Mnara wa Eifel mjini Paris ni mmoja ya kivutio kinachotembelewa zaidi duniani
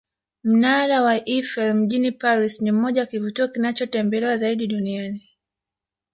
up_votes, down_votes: 3, 1